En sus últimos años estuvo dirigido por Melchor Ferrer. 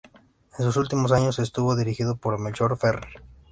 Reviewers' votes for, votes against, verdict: 2, 0, accepted